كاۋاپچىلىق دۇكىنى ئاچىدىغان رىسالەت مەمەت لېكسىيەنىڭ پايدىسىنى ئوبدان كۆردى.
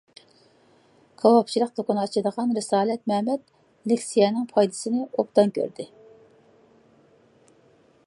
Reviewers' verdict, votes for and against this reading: accepted, 2, 0